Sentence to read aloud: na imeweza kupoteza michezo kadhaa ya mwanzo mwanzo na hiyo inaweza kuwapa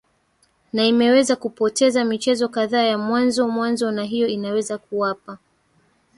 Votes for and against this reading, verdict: 2, 1, accepted